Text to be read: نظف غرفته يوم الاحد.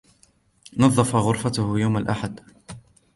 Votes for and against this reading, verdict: 2, 0, accepted